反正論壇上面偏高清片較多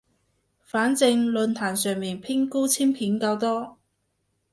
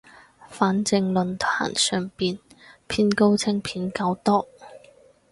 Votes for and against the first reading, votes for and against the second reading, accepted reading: 2, 0, 2, 4, first